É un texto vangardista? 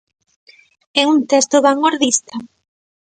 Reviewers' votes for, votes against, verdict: 1, 2, rejected